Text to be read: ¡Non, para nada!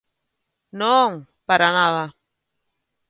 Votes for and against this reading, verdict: 2, 0, accepted